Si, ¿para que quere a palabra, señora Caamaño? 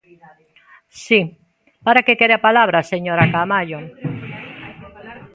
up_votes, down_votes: 0, 2